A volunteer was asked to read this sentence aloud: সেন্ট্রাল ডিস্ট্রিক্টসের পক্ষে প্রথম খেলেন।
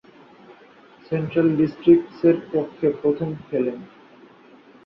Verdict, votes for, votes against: accepted, 2, 0